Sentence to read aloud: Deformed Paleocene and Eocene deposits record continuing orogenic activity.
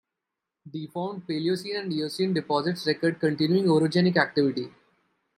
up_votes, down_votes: 0, 2